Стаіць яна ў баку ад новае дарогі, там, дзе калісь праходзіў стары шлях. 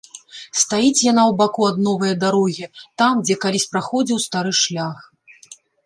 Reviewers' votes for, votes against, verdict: 2, 0, accepted